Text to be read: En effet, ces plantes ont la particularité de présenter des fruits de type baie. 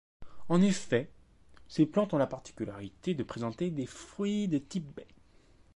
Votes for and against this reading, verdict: 2, 0, accepted